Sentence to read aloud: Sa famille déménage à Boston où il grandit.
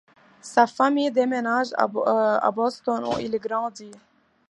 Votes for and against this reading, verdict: 2, 0, accepted